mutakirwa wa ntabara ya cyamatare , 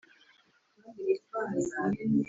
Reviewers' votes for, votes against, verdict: 1, 2, rejected